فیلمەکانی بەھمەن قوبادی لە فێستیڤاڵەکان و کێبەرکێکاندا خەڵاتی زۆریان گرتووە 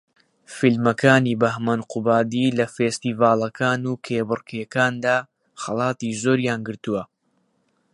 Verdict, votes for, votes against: accepted, 4, 0